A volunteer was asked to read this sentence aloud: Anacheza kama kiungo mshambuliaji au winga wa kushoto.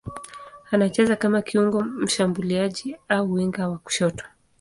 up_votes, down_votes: 2, 0